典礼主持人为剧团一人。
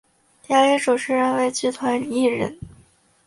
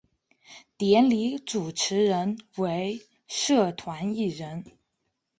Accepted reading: first